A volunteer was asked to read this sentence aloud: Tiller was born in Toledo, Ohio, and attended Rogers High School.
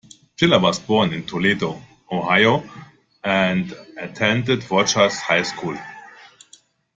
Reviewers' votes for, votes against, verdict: 1, 2, rejected